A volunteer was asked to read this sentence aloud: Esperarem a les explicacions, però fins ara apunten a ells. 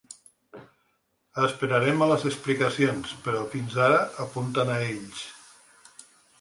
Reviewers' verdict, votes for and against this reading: accepted, 2, 0